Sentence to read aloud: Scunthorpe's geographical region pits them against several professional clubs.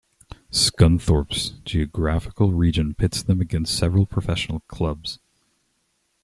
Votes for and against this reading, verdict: 2, 0, accepted